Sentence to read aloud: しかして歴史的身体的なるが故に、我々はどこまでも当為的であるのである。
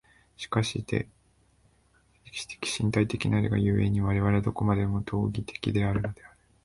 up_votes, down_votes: 1, 2